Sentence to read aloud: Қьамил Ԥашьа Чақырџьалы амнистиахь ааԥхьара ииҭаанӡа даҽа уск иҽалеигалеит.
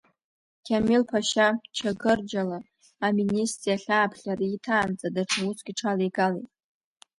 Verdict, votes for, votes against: rejected, 1, 2